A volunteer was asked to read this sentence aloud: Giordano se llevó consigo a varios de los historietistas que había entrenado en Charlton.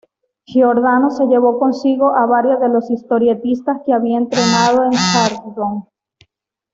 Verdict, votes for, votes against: accepted, 2, 0